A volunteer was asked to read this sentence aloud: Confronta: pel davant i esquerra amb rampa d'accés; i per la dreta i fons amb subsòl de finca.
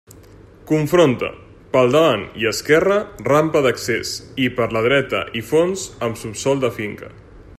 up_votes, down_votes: 0, 2